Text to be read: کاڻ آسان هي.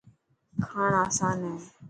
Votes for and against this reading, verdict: 2, 0, accepted